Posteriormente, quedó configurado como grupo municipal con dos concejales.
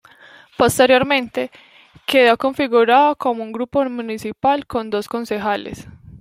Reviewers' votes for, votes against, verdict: 0, 2, rejected